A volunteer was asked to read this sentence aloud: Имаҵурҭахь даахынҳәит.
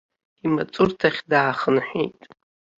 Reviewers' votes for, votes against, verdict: 0, 2, rejected